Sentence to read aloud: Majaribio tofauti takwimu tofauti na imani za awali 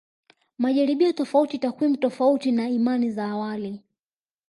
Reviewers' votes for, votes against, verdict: 2, 0, accepted